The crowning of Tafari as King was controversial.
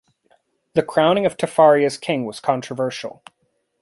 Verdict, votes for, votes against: accepted, 2, 0